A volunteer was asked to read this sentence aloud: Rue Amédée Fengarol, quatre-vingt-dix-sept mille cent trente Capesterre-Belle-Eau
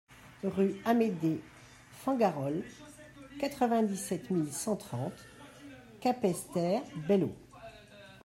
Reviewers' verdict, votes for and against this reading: rejected, 0, 2